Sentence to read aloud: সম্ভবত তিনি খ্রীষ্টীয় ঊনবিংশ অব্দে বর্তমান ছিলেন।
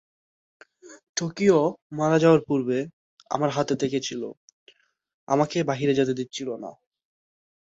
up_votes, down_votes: 0, 2